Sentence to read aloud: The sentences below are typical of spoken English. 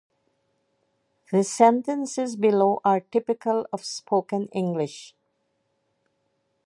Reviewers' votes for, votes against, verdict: 0, 2, rejected